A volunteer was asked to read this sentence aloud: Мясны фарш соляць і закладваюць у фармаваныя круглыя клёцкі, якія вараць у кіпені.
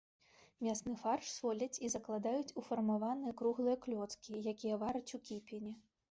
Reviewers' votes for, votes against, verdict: 1, 2, rejected